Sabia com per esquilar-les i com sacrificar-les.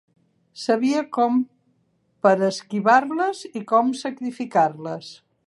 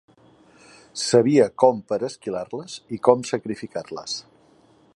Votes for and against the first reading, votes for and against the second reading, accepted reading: 1, 2, 3, 0, second